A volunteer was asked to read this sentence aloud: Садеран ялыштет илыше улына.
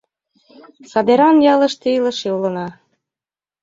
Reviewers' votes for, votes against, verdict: 2, 1, accepted